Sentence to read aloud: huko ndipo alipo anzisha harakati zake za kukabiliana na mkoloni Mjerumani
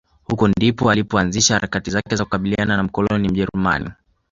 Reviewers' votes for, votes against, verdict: 1, 2, rejected